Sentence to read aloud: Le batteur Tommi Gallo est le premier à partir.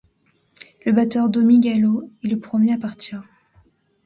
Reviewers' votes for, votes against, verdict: 0, 2, rejected